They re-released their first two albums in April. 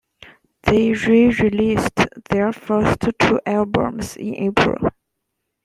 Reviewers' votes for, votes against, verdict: 2, 1, accepted